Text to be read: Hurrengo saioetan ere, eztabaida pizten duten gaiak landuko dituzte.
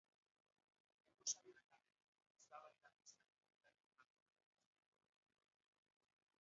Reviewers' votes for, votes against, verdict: 0, 2, rejected